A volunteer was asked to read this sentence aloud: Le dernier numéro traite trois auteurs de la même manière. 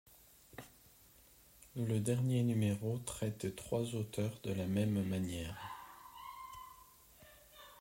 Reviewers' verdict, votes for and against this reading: accepted, 2, 0